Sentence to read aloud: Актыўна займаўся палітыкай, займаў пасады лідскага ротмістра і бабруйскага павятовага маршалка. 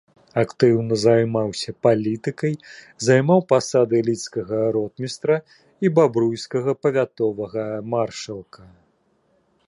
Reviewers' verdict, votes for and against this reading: accepted, 3, 0